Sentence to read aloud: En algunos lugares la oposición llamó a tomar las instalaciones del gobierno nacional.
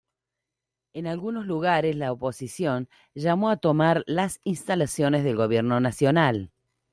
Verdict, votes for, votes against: accepted, 2, 0